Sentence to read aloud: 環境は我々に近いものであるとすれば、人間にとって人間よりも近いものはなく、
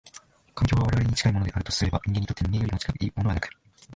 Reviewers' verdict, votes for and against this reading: rejected, 2, 3